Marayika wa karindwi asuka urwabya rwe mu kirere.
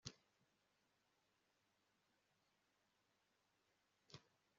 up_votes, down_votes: 0, 2